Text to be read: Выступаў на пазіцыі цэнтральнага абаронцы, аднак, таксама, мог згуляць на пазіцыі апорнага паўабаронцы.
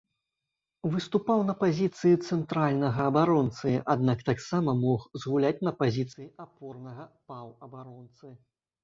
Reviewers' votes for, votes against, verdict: 2, 0, accepted